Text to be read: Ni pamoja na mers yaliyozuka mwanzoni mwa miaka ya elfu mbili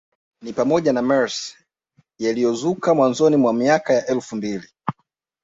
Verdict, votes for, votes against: accepted, 2, 0